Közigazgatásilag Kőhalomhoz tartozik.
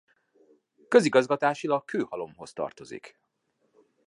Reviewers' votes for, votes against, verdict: 2, 0, accepted